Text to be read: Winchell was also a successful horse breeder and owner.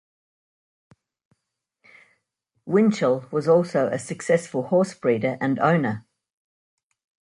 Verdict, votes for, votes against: accepted, 2, 0